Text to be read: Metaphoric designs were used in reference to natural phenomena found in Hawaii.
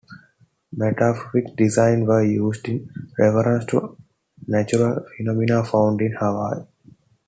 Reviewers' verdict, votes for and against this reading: rejected, 1, 2